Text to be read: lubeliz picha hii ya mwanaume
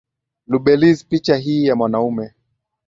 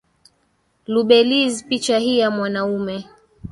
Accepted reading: first